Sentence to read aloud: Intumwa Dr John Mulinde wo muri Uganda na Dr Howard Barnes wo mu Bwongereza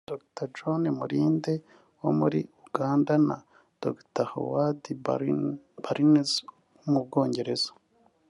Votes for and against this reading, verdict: 0, 3, rejected